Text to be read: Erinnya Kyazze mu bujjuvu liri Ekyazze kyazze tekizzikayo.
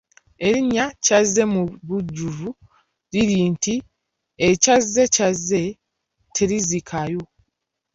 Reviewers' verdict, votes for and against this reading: rejected, 0, 2